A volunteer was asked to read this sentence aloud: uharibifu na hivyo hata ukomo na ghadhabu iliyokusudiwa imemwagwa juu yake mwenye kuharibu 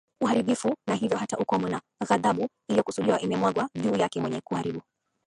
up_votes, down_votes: 7, 10